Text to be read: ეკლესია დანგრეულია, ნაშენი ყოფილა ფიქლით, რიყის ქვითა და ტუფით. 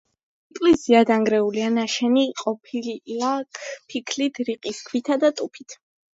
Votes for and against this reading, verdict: 1, 2, rejected